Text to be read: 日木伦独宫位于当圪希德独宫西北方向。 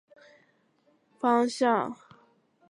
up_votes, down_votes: 0, 2